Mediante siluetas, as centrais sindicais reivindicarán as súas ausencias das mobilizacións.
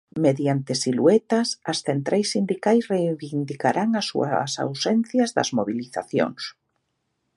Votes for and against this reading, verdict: 2, 1, accepted